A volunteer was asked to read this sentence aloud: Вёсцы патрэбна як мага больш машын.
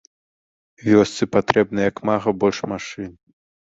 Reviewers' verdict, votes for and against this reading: rejected, 3, 4